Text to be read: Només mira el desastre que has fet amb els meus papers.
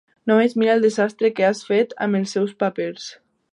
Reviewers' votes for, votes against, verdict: 0, 2, rejected